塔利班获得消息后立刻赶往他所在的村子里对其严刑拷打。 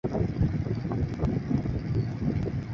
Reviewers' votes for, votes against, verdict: 0, 3, rejected